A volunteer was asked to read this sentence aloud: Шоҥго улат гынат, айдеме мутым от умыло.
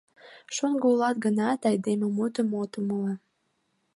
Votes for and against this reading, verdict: 3, 0, accepted